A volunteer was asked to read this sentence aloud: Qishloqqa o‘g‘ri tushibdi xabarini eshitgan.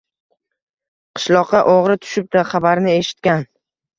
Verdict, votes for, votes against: accepted, 2, 0